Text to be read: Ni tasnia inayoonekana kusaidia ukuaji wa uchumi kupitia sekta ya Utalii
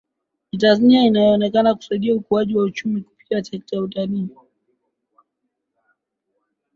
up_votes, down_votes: 2, 0